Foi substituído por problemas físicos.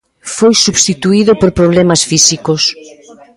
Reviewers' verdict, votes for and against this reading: rejected, 2, 3